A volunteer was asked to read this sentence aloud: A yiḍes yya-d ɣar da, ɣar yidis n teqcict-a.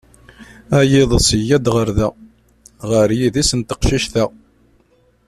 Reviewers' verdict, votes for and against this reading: accepted, 2, 0